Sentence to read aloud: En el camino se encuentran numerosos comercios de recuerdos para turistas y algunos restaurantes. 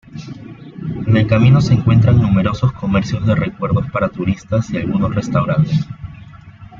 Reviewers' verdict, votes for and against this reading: accepted, 2, 0